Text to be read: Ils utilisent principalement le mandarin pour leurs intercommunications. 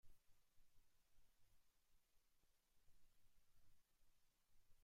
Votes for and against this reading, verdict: 0, 3, rejected